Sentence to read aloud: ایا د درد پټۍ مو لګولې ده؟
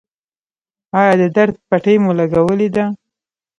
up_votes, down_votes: 1, 2